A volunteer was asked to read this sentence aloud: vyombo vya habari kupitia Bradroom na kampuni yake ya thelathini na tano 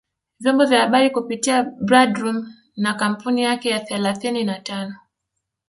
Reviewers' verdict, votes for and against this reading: rejected, 1, 2